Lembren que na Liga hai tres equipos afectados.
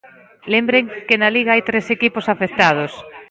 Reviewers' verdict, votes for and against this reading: rejected, 0, 2